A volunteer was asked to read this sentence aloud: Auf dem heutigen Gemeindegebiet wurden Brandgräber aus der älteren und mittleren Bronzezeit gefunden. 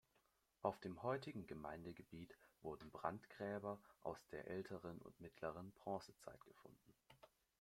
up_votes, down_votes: 1, 2